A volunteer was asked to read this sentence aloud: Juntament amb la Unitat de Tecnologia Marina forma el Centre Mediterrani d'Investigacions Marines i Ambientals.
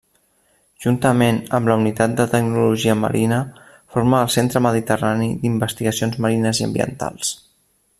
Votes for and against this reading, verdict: 3, 0, accepted